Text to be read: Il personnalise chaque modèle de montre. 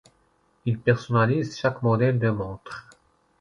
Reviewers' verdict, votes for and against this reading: accepted, 2, 0